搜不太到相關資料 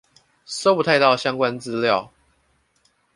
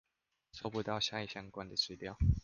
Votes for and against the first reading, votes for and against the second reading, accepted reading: 2, 1, 0, 2, first